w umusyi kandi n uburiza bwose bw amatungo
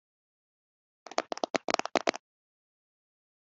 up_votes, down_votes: 2, 3